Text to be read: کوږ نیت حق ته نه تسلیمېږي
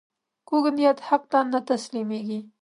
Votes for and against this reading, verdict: 2, 0, accepted